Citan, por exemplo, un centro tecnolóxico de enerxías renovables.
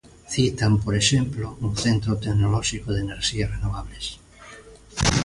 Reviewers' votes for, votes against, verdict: 2, 0, accepted